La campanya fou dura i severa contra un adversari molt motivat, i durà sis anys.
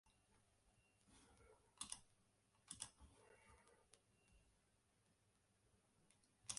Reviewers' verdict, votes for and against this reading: rejected, 0, 2